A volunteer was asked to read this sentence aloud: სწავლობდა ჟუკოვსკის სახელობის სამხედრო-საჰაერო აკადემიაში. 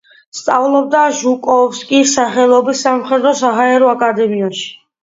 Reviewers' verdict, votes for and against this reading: accepted, 2, 1